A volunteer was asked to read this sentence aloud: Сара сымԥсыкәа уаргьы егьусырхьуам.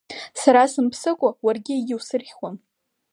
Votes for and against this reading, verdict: 3, 0, accepted